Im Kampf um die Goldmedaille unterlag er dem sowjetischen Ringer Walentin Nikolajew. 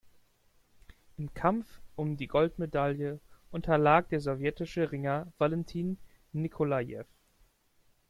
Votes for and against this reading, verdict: 1, 2, rejected